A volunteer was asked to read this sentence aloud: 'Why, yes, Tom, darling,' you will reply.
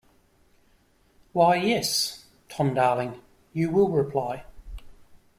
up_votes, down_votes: 2, 0